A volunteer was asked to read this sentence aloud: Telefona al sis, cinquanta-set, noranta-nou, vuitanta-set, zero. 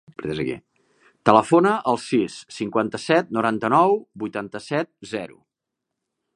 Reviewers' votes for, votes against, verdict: 1, 2, rejected